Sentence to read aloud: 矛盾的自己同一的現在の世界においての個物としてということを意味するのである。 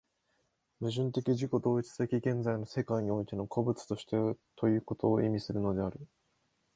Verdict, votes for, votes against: accepted, 2, 0